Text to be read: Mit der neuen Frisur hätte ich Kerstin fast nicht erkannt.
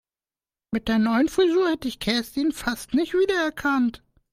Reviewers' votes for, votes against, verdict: 0, 2, rejected